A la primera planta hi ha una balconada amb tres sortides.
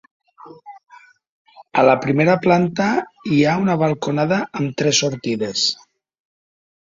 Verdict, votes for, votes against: accepted, 2, 1